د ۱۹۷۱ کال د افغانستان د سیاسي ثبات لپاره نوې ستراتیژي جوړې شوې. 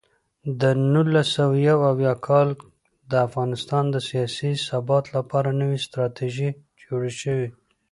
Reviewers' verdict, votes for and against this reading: rejected, 0, 2